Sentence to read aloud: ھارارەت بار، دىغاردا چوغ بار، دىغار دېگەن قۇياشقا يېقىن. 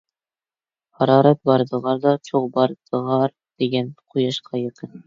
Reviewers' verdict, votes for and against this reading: accepted, 2, 1